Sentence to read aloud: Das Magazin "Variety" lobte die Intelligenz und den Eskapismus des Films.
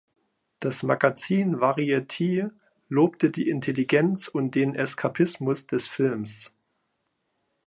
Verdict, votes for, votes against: rejected, 1, 2